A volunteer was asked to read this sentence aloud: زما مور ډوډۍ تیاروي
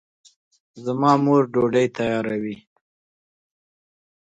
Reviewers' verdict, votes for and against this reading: accepted, 2, 0